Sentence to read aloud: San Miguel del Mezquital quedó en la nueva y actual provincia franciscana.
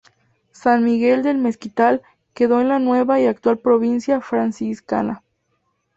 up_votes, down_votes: 2, 0